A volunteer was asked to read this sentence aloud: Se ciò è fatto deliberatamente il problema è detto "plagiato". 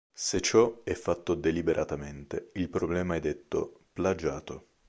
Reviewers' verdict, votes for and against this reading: accepted, 2, 0